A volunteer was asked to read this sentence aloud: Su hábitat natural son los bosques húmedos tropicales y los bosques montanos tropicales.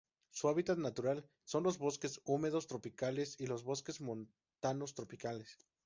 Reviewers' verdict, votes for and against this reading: rejected, 0, 2